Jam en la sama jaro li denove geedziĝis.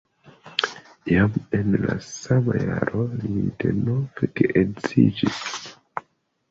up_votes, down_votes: 2, 0